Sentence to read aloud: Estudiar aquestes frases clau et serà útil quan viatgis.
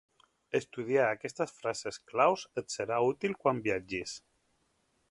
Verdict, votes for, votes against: rejected, 0, 2